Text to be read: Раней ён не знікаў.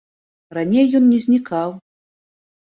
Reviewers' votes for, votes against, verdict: 2, 0, accepted